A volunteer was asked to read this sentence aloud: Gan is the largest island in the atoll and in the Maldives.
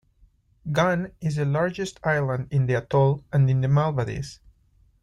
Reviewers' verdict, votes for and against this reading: rejected, 1, 2